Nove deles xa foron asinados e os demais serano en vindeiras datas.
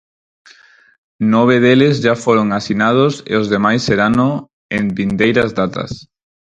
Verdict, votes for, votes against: rejected, 0, 4